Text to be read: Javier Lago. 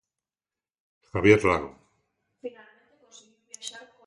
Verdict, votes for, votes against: rejected, 1, 2